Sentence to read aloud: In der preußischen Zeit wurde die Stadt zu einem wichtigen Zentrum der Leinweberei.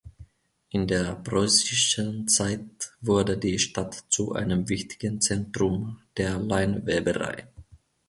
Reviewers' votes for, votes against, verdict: 2, 0, accepted